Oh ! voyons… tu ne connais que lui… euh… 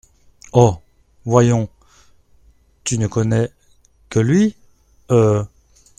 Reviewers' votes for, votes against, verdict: 2, 0, accepted